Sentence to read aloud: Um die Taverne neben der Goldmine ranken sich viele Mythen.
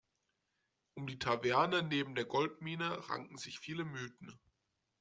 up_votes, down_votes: 2, 0